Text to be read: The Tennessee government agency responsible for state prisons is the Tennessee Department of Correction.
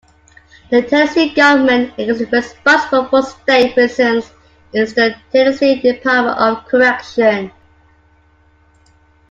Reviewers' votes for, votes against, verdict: 2, 0, accepted